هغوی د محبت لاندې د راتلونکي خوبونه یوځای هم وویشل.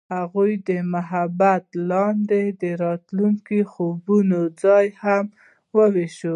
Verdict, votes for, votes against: accepted, 2, 0